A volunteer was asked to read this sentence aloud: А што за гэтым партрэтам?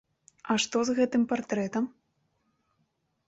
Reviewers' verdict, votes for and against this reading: rejected, 0, 2